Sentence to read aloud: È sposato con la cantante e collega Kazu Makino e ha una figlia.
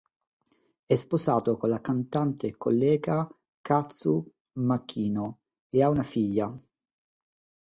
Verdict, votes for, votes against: accepted, 2, 0